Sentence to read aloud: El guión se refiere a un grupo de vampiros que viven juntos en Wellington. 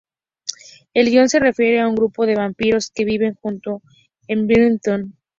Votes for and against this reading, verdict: 0, 2, rejected